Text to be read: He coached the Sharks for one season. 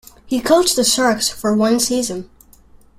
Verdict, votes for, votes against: accepted, 2, 0